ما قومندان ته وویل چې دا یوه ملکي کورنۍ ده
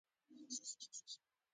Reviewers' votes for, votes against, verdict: 2, 0, accepted